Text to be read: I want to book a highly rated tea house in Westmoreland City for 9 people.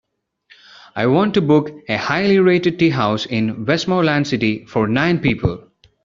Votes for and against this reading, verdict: 0, 2, rejected